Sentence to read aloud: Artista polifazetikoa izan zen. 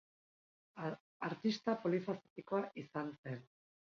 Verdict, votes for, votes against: rejected, 0, 2